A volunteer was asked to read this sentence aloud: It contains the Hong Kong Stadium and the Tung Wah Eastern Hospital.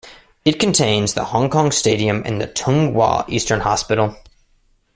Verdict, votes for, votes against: accepted, 2, 0